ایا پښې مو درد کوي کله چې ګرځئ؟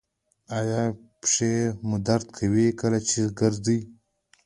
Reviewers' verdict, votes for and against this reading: accepted, 3, 0